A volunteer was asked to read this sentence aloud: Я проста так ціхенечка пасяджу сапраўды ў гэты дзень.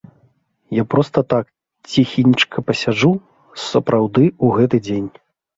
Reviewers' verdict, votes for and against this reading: rejected, 0, 2